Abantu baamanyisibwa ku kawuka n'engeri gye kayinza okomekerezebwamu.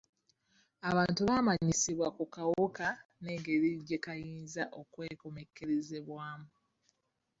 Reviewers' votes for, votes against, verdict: 0, 2, rejected